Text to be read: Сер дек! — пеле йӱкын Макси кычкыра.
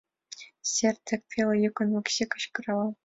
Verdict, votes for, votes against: accepted, 2, 1